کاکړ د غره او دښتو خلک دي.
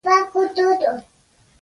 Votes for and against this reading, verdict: 0, 2, rejected